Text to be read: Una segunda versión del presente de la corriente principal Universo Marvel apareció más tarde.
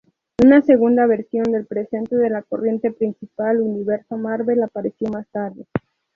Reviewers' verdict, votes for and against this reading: rejected, 2, 2